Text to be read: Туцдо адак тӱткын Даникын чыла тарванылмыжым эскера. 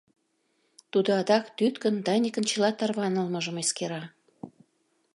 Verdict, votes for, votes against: rejected, 0, 2